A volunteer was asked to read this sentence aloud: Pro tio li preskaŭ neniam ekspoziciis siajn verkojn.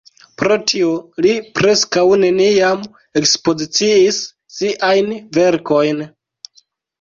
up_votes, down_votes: 2, 0